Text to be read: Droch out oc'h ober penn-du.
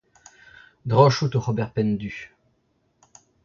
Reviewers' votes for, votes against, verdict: 1, 2, rejected